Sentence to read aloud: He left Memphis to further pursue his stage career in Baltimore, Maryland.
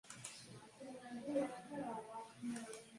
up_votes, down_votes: 0, 2